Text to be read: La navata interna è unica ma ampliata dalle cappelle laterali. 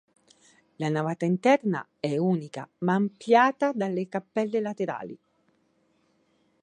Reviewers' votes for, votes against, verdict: 2, 3, rejected